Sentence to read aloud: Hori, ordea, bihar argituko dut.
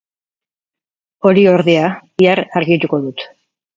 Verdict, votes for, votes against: accepted, 4, 0